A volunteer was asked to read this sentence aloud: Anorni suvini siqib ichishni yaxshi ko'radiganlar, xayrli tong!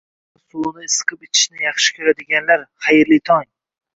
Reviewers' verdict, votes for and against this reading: rejected, 1, 2